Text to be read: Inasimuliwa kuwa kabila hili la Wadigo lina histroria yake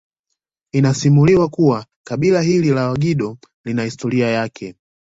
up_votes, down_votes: 1, 2